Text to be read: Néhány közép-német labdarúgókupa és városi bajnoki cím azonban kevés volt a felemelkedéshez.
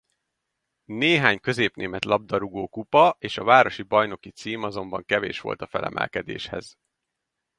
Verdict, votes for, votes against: rejected, 0, 2